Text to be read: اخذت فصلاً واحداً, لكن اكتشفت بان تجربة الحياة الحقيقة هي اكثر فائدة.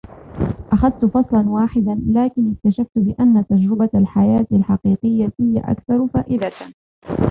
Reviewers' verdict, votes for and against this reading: accepted, 2, 0